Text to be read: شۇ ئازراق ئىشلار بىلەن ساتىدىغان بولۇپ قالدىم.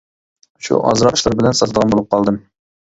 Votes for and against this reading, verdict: 1, 2, rejected